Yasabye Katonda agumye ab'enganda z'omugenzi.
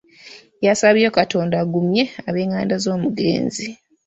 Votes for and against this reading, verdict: 3, 0, accepted